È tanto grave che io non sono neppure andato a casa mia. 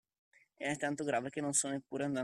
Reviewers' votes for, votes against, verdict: 0, 2, rejected